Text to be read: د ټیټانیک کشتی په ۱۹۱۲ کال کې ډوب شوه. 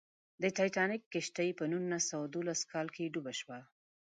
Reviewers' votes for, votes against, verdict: 0, 2, rejected